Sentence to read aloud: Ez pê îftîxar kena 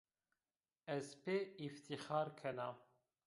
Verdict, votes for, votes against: rejected, 0, 2